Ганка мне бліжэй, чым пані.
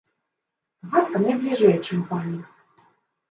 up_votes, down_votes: 1, 2